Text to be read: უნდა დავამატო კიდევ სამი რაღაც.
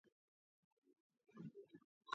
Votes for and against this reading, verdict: 0, 3, rejected